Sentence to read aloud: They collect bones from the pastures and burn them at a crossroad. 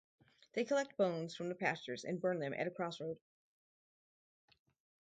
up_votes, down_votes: 4, 0